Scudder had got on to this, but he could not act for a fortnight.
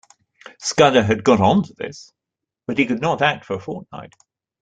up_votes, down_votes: 2, 0